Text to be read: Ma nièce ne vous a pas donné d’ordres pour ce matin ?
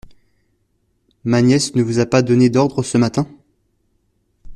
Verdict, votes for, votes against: rejected, 0, 2